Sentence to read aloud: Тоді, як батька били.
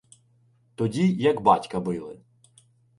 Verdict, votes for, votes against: accepted, 2, 0